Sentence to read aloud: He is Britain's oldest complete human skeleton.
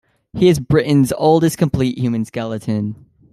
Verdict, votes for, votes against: accepted, 2, 1